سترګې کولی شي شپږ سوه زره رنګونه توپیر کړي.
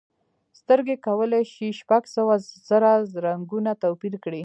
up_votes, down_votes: 1, 2